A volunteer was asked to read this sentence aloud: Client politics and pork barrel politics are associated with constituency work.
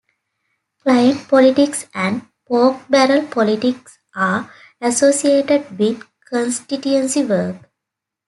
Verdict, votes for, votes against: accepted, 2, 1